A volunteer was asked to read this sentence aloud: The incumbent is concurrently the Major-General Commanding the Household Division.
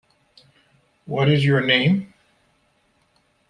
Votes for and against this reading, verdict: 0, 2, rejected